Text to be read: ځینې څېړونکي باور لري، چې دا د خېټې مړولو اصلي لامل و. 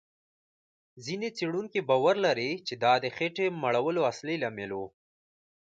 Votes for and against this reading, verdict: 2, 0, accepted